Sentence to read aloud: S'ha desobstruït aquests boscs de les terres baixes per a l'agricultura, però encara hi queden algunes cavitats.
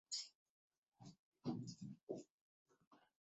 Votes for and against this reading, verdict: 0, 2, rejected